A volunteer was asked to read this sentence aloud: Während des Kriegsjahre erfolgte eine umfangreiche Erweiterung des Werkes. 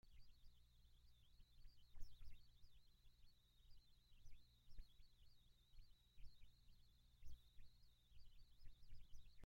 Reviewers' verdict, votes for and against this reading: rejected, 0, 2